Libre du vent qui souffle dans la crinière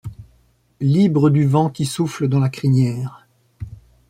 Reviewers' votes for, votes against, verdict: 2, 0, accepted